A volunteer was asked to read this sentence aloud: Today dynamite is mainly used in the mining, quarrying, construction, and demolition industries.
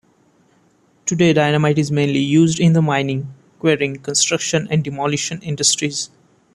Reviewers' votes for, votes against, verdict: 2, 1, accepted